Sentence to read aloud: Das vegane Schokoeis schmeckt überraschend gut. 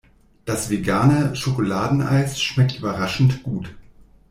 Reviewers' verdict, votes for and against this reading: rejected, 0, 2